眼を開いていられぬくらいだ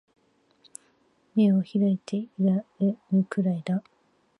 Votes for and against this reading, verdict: 1, 2, rejected